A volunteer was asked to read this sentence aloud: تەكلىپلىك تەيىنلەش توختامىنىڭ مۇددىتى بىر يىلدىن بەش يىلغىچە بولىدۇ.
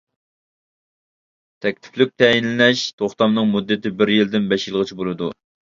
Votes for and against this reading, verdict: 0, 2, rejected